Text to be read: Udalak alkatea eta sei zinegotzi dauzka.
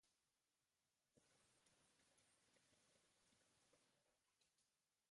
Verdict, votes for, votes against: rejected, 0, 2